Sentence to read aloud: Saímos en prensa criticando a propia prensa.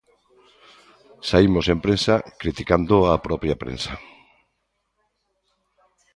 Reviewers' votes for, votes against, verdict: 2, 0, accepted